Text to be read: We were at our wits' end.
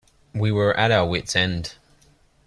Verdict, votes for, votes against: accepted, 2, 0